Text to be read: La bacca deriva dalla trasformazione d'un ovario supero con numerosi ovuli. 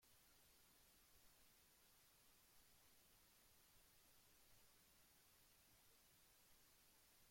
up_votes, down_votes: 0, 2